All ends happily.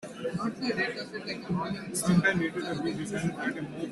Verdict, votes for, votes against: rejected, 0, 2